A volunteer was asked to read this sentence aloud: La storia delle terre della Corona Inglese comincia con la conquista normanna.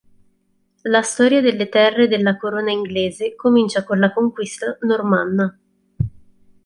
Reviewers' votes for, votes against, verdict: 3, 0, accepted